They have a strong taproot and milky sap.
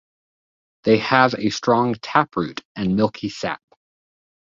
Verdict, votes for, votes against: accepted, 2, 0